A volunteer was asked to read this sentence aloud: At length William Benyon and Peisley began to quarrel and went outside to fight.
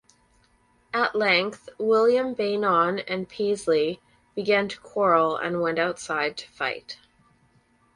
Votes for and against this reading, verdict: 2, 4, rejected